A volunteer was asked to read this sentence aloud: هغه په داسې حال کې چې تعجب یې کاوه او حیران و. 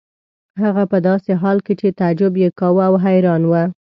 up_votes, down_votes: 2, 0